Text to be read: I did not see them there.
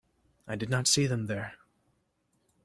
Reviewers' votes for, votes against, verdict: 2, 0, accepted